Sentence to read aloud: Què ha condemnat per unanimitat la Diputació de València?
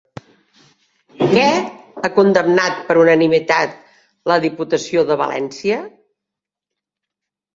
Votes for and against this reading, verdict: 3, 0, accepted